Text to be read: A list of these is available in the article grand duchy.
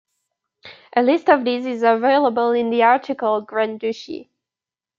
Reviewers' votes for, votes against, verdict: 0, 2, rejected